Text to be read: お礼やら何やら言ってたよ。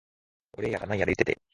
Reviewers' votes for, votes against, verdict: 0, 2, rejected